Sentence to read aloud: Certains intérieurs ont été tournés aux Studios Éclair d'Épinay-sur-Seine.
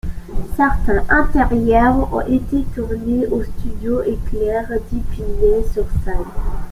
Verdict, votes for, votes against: accepted, 3, 1